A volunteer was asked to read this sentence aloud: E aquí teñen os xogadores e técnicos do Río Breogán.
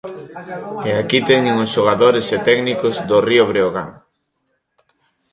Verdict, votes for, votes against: rejected, 1, 2